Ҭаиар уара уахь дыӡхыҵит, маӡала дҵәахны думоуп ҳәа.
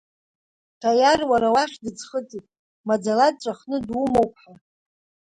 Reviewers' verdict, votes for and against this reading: accepted, 2, 1